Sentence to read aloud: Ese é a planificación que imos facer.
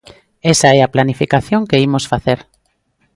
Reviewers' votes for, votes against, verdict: 1, 2, rejected